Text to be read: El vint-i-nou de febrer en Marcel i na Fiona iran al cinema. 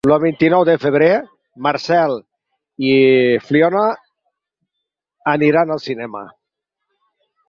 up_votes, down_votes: 0, 4